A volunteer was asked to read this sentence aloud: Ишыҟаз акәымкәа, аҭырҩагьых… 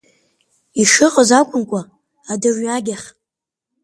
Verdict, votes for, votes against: accepted, 4, 3